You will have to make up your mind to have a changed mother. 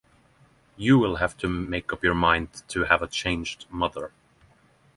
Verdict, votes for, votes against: accepted, 6, 0